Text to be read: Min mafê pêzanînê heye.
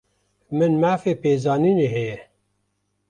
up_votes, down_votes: 1, 2